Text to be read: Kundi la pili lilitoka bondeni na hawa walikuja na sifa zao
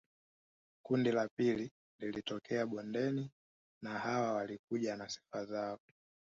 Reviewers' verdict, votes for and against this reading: rejected, 0, 2